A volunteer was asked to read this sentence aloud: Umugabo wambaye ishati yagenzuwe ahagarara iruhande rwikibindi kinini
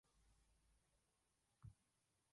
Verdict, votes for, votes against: rejected, 0, 2